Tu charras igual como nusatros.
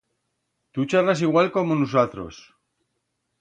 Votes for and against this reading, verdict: 2, 0, accepted